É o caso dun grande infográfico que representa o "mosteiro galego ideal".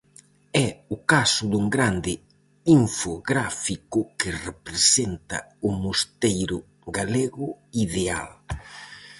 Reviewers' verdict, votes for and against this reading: rejected, 2, 2